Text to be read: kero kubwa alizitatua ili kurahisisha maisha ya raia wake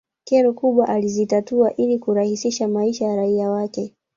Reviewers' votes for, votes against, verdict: 1, 2, rejected